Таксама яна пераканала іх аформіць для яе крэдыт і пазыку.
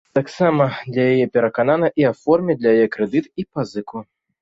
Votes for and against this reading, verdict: 0, 2, rejected